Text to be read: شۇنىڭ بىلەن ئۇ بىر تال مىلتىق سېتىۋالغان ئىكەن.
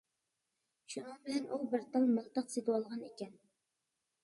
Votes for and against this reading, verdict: 2, 1, accepted